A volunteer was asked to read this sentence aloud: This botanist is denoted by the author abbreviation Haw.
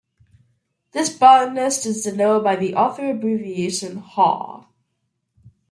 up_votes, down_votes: 2, 0